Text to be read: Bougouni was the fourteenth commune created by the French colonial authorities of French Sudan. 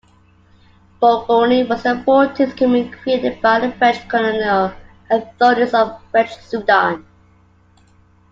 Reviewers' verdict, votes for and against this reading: accepted, 2, 0